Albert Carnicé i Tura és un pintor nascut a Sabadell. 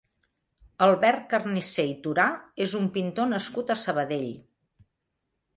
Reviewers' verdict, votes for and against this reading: rejected, 1, 2